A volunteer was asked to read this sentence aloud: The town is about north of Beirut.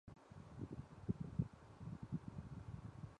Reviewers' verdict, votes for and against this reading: rejected, 0, 2